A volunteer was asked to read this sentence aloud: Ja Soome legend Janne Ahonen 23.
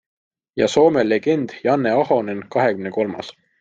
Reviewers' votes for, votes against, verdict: 0, 2, rejected